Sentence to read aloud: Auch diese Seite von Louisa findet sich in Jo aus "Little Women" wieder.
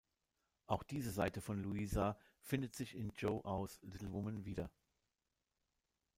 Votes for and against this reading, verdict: 1, 2, rejected